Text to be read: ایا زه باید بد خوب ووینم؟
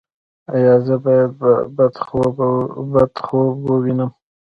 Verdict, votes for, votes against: rejected, 0, 2